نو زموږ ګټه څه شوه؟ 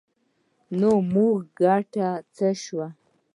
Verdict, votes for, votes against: accepted, 2, 0